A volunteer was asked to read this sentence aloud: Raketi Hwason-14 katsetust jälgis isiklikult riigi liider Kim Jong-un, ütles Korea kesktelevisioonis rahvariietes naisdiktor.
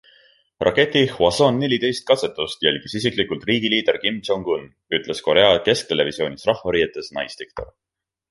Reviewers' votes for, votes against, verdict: 0, 2, rejected